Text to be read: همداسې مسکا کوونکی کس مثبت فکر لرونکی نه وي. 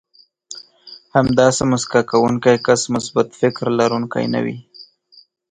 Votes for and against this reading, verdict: 9, 3, accepted